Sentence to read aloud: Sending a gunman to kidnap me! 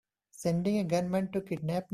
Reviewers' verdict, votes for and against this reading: rejected, 1, 2